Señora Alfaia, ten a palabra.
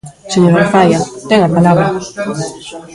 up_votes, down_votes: 1, 2